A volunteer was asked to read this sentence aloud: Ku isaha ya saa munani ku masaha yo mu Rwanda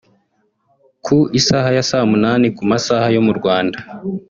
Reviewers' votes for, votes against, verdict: 2, 1, accepted